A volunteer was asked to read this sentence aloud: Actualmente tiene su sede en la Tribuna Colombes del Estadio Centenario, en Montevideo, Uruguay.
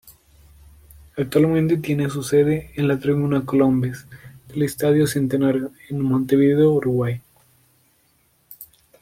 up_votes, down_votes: 2, 0